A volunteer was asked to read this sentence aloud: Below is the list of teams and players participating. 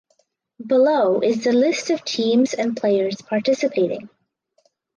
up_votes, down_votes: 4, 0